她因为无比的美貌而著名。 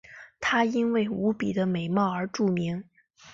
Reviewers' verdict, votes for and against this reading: accepted, 3, 1